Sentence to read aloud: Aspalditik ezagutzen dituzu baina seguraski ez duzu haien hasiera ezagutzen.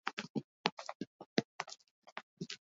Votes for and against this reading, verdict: 0, 4, rejected